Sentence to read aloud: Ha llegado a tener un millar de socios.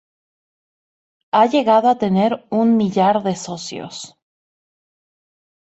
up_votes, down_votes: 0, 2